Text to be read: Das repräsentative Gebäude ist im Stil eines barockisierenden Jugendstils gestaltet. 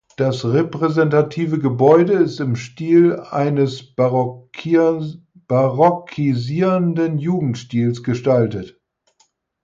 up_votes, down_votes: 0, 4